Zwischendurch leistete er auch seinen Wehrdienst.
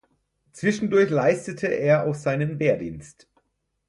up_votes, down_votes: 4, 0